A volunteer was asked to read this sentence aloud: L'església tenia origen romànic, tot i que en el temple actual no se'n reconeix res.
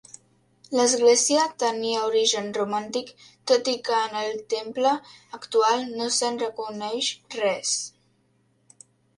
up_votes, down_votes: 0, 3